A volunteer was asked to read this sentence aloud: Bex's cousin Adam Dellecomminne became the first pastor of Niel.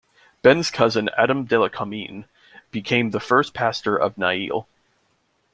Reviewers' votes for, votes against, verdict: 1, 2, rejected